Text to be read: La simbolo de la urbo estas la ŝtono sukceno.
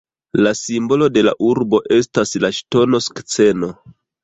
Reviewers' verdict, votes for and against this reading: rejected, 1, 2